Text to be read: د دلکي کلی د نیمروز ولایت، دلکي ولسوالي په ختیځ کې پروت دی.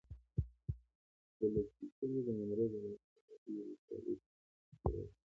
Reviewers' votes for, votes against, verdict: 0, 2, rejected